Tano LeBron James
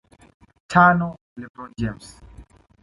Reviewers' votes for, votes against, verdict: 2, 0, accepted